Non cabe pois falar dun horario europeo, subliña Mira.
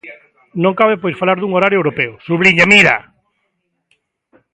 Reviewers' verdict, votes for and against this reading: accepted, 2, 0